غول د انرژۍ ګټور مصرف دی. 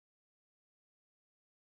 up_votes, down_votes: 1, 2